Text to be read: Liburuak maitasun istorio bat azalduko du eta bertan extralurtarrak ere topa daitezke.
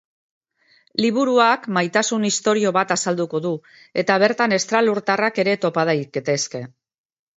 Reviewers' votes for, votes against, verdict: 0, 2, rejected